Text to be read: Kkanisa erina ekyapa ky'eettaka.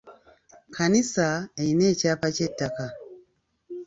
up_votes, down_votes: 2, 0